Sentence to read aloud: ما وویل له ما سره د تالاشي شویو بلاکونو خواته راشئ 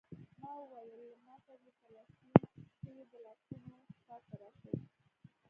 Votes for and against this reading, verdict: 1, 2, rejected